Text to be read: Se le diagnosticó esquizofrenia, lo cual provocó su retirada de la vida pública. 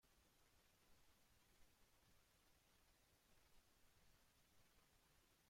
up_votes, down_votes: 0, 2